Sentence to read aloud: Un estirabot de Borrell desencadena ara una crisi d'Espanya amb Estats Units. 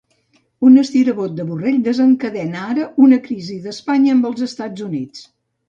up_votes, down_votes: 0, 2